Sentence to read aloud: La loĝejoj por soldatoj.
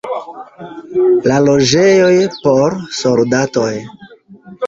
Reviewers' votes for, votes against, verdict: 2, 1, accepted